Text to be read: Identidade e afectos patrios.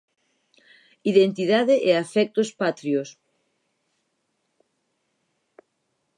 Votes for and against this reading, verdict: 4, 0, accepted